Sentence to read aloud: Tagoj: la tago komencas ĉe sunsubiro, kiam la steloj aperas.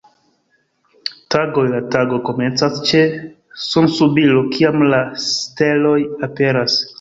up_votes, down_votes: 1, 2